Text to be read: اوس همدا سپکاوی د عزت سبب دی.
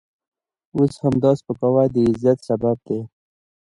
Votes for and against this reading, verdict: 0, 2, rejected